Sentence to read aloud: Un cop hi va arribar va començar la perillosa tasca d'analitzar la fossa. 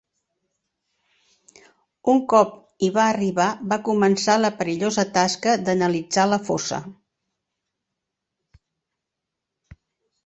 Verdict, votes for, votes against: accepted, 3, 0